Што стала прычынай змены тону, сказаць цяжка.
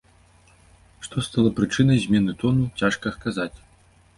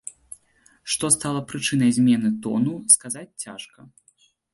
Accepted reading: second